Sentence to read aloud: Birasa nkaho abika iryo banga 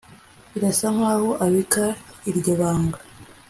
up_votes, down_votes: 3, 0